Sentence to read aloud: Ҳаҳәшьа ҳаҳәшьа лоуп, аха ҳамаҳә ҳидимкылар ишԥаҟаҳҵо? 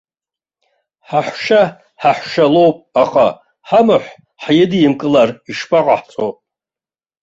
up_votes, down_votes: 2, 0